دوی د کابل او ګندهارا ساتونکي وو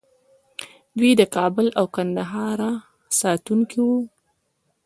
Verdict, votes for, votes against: accepted, 2, 1